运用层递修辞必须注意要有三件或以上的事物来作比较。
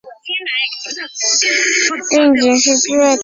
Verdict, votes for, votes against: rejected, 0, 2